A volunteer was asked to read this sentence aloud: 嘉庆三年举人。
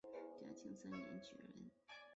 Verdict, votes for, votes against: rejected, 0, 4